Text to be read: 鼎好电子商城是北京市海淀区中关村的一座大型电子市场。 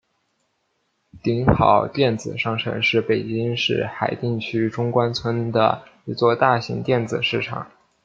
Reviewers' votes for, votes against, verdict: 2, 1, accepted